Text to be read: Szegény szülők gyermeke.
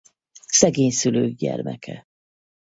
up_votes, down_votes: 4, 0